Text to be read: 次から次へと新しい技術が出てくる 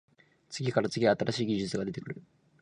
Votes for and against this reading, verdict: 1, 2, rejected